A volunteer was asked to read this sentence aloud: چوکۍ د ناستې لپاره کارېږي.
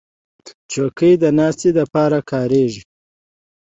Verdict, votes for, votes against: accepted, 2, 0